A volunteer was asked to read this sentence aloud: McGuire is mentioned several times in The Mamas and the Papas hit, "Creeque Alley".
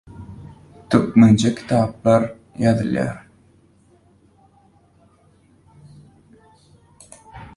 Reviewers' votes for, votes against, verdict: 0, 2, rejected